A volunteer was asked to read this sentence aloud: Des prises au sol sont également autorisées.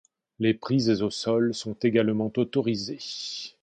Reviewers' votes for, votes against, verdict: 0, 2, rejected